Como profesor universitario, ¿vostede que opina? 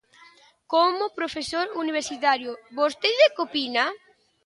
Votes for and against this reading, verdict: 2, 0, accepted